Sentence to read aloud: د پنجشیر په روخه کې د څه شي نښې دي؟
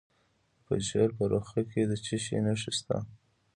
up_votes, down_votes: 2, 1